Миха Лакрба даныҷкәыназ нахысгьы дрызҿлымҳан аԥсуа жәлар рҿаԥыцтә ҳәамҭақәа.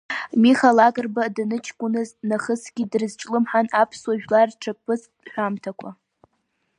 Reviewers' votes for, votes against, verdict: 5, 1, accepted